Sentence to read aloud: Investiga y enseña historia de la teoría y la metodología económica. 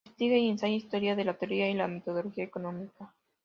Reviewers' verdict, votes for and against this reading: rejected, 0, 2